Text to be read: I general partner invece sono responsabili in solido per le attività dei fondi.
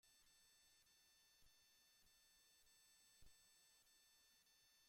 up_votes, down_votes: 0, 2